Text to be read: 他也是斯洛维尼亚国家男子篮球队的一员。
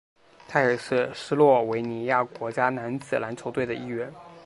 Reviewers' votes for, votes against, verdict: 4, 0, accepted